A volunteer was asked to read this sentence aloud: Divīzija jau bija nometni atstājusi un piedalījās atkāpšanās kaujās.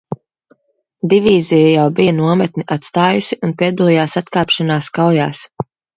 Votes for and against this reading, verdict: 2, 0, accepted